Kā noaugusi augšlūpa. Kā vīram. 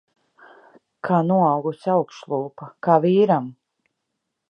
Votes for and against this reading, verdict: 2, 0, accepted